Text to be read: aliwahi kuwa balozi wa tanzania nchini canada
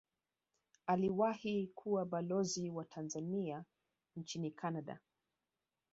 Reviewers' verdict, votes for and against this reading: rejected, 1, 2